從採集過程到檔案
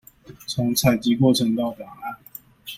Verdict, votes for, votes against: accepted, 2, 0